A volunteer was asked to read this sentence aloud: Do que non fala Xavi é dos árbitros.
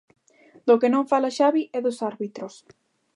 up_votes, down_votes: 2, 0